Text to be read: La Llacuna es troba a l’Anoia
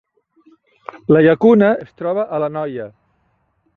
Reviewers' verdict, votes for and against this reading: accepted, 2, 0